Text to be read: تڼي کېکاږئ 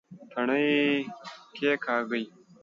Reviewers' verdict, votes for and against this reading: accepted, 2, 1